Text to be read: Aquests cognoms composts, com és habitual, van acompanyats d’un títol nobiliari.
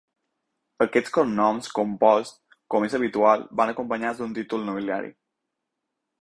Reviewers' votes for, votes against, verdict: 4, 0, accepted